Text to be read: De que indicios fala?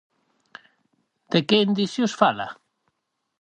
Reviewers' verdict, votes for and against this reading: accepted, 4, 0